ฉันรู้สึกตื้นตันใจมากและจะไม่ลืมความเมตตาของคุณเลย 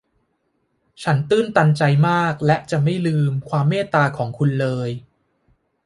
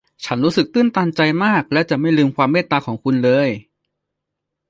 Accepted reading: second